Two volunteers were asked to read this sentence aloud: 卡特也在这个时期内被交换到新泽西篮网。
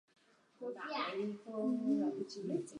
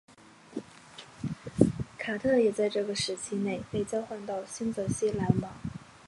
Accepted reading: second